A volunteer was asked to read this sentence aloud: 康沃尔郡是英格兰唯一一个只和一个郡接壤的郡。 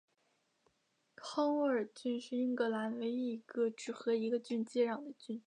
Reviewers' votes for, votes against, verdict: 3, 1, accepted